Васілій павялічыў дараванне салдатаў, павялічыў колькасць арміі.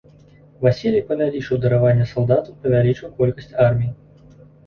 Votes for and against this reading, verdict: 2, 1, accepted